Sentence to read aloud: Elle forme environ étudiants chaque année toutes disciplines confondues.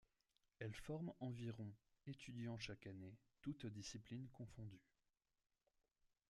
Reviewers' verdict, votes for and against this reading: rejected, 1, 2